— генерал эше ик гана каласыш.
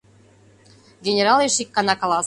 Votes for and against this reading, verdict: 1, 2, rejected